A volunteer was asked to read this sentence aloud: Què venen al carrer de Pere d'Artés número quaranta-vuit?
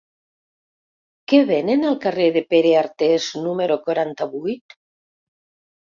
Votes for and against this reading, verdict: 1, 2, rejected